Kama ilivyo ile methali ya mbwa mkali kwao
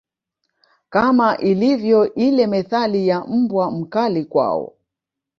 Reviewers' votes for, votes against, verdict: 3, 0, accepted